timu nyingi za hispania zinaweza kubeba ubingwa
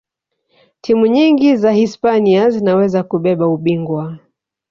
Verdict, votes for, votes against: rejected, 1, 2